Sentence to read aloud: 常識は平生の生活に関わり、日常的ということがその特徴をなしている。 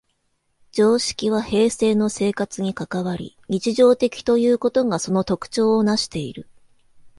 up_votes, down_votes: 1, 2